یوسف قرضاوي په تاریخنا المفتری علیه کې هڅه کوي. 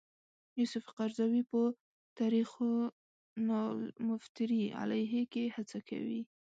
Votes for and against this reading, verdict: 2, 3, rejected